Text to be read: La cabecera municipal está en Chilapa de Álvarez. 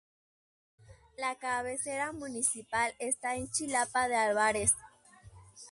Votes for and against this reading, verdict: 2, 0, accepted